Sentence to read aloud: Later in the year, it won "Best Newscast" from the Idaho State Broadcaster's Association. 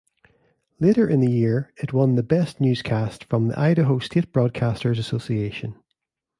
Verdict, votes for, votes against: rejected, 1, 2